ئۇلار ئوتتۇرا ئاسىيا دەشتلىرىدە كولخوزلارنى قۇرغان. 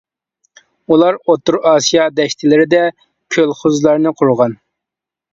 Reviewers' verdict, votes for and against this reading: rejected, 1, 2